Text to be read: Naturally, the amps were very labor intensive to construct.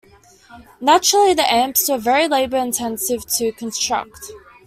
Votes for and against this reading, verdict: 2, 0, accepted